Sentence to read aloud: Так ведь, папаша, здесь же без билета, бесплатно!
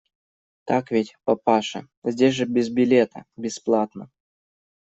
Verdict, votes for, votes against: accepted, 2, 0